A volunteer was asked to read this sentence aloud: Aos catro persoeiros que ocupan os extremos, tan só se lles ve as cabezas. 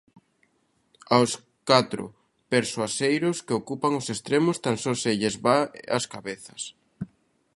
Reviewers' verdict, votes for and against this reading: rejected, 0, 2